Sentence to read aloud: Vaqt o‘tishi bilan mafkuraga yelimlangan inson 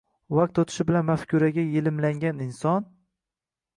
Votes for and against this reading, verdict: 2, 1, accepted